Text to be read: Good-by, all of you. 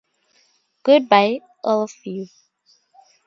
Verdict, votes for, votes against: accepted, 2, 0